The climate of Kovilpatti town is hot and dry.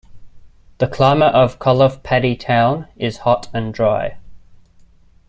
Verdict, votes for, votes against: rejected, 0, 2